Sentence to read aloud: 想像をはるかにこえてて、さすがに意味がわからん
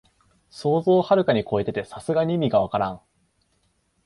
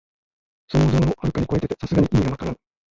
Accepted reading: first